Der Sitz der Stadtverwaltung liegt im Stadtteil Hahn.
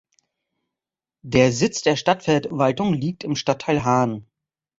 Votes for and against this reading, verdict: 1, 2, rejected